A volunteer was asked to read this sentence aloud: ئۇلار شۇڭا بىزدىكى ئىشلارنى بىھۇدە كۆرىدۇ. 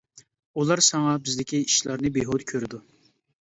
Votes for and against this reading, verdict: 0, 2, rejected